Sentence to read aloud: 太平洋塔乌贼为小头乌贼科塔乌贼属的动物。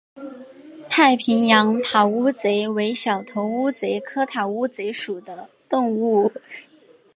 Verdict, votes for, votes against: accepted, 2, 0